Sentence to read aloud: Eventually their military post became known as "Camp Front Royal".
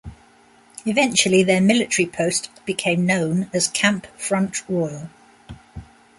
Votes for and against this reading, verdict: 2, 0, accepted